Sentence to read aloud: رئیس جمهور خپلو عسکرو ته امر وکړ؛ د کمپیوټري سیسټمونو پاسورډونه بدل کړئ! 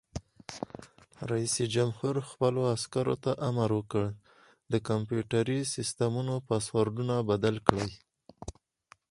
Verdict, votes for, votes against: accepted, 4, 0